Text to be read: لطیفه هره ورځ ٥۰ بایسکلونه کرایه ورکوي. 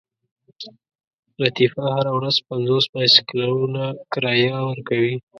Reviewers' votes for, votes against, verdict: 0, 2, rejected